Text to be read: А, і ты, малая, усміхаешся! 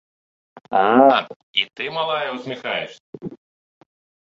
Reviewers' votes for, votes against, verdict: 3, 0, accepted